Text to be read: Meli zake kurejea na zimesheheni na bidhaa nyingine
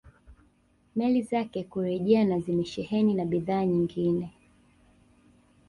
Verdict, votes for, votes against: rejected, 1, 2